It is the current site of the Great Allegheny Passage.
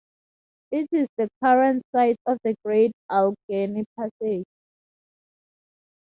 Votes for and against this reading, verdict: 2, 0, accepted